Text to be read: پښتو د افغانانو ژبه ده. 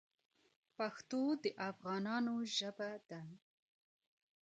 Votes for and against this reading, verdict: 1, 2, rejected